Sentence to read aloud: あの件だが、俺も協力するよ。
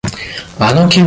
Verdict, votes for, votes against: rejected, 0, 2